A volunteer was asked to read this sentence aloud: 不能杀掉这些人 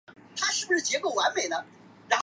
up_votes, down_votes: 0, 3